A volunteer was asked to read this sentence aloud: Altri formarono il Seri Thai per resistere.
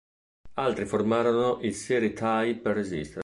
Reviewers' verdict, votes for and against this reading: rejected, 1, 2